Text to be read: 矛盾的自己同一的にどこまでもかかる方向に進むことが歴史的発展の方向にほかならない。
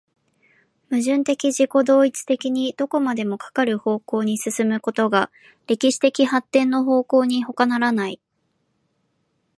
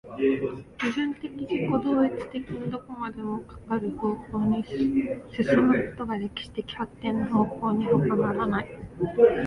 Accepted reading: first